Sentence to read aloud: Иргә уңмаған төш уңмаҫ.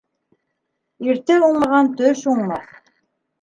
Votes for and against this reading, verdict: 0, 2, rejected